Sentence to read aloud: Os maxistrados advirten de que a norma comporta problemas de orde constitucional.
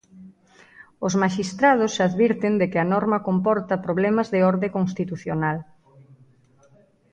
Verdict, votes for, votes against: accepted, 2, 0